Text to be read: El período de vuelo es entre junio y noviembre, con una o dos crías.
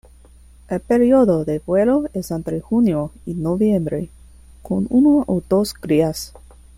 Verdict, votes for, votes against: accepted, 2, 1